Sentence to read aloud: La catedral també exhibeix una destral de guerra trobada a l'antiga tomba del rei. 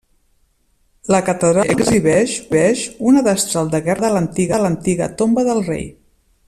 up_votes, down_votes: 0, 2